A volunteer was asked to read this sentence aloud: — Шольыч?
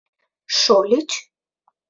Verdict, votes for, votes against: accepted, 2, 0